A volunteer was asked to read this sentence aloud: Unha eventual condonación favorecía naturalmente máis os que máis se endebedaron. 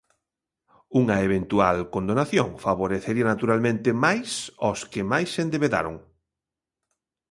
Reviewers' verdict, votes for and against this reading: rejected, 0, 2